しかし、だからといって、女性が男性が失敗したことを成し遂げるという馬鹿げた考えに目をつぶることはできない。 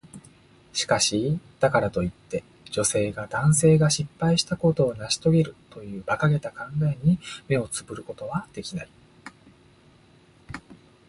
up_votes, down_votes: 2, 0